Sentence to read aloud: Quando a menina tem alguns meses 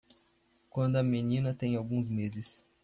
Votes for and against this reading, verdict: 2, 0, accepted